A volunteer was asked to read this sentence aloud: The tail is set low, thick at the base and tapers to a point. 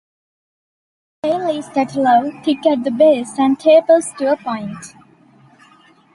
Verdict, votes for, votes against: rejected, 0, 2